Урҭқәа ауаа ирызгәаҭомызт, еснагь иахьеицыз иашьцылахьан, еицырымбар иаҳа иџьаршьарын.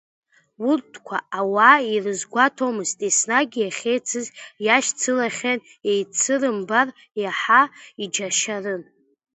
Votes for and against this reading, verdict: 0, 2, rejected